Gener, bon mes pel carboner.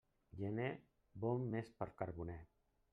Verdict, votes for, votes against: rejected, 1, 2